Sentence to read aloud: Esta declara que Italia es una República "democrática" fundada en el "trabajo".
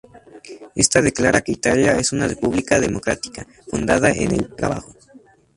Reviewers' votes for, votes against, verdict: 2, 0, accepted